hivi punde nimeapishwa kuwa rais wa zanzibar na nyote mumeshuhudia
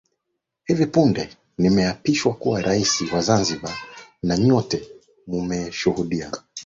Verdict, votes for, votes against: rejected, 2, 4